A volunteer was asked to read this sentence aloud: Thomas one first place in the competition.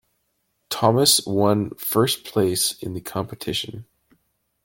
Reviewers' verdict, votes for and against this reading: accepted, 2, 0